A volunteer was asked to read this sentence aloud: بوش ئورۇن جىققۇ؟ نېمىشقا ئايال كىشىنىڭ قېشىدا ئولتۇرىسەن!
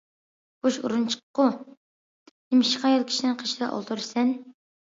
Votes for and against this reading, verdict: 0, 2, rejected